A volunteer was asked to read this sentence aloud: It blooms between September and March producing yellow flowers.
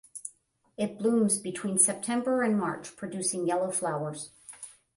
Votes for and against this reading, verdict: 10, 5, accepted